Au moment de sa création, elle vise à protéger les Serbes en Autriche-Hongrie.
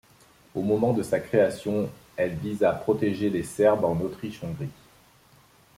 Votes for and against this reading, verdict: 2, 0, accepted